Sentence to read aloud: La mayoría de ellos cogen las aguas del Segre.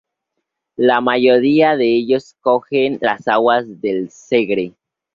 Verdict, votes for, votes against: accepted, 4, 0